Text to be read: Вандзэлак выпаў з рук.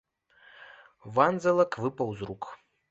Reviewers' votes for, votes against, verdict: 1, 2, rejected